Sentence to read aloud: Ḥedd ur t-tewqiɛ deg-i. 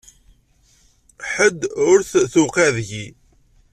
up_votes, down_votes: 2, 0